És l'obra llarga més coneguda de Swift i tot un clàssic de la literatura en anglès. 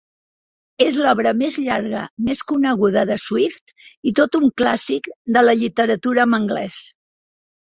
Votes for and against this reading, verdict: 0, 2, rejected